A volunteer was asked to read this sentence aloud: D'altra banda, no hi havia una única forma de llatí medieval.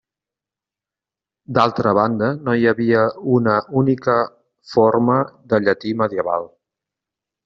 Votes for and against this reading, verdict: 3, 0, accepted